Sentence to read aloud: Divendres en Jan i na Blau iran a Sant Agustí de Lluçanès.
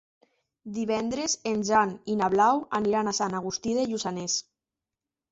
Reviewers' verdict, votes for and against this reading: rejected, 1, 2